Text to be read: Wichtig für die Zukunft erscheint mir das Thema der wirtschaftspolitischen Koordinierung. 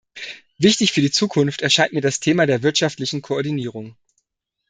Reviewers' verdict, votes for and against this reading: rejected, 1, 2